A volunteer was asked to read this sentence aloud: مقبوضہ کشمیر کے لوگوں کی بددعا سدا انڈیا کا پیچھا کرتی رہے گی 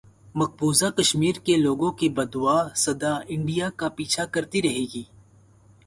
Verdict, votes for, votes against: accepted, 4, 0